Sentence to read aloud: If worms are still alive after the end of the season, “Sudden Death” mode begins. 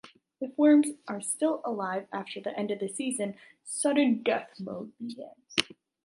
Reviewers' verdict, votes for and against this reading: rejected, 1, 2